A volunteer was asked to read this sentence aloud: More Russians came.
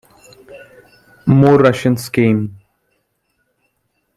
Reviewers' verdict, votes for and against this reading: rejected, 1, 2